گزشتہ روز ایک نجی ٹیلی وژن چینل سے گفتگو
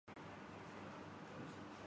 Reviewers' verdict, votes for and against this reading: rejected, 3, 4